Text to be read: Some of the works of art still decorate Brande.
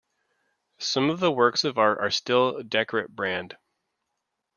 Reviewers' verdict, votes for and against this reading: rejected, 0, 2